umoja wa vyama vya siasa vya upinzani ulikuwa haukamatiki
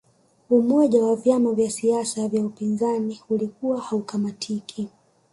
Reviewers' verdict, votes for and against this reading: rejected, 1, 2